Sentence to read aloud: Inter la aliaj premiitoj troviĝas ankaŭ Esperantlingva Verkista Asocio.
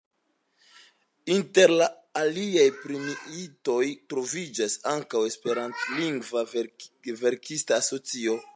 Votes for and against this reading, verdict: 1, 2, rejected